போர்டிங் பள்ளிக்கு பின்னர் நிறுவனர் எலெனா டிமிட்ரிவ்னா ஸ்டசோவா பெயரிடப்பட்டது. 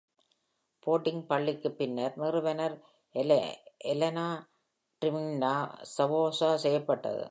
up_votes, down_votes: 0, 2